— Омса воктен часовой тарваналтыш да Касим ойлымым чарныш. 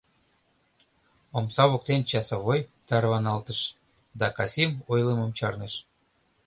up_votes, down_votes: 2, 0